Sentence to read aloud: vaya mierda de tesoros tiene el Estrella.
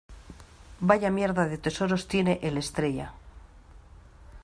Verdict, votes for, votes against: accepted, 2, 0